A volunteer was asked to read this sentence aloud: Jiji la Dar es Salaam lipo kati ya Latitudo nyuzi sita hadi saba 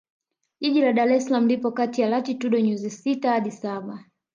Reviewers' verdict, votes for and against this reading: rejected, 1, 2